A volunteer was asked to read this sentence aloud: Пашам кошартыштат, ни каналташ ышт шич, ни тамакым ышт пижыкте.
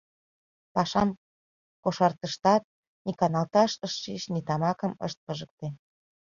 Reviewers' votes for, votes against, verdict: 3, 2, accepted